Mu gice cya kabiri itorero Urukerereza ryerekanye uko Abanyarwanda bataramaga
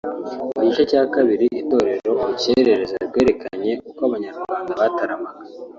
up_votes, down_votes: 1, 2